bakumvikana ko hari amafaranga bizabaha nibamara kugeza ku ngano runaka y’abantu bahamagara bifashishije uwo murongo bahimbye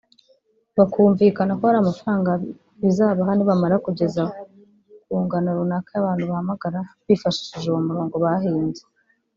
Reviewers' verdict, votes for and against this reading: rejected, 1, 2